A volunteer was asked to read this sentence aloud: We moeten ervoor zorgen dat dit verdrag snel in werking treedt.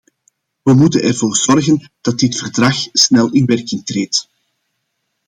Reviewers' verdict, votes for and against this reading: accepted, 2, 0